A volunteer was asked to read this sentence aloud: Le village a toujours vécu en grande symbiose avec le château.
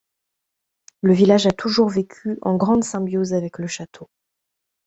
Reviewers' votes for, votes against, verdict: 2, 0, accepted